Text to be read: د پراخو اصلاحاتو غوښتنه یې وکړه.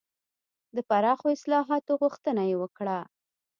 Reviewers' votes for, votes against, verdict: 2, 0, accepted